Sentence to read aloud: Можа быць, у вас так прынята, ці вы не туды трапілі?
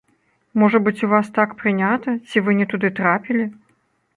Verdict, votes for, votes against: rejected, 1, 2